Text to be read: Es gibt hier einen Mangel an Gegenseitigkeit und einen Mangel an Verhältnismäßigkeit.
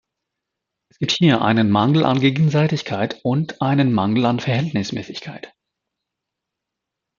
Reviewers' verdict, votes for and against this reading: rejected, 0, 2